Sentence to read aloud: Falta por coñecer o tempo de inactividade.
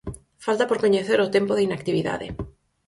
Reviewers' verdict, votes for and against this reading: accepted, 4, 0